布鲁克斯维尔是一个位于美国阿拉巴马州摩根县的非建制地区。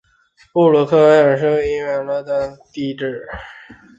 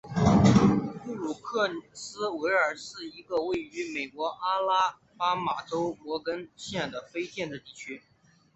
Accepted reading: second